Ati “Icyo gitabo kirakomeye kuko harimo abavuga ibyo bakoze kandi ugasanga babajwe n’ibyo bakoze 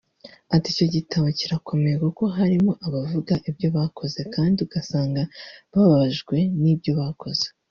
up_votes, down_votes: 2, 0